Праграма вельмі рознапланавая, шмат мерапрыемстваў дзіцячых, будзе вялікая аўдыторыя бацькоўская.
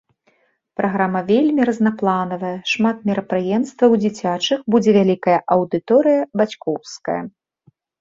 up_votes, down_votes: 2, 0